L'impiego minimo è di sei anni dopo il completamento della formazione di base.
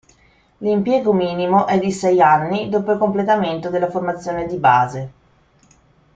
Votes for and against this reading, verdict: 2, 0, accepted